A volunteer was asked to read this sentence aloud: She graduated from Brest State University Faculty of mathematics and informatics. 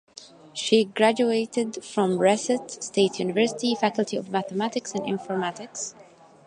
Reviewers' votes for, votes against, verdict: 0, 2, rejected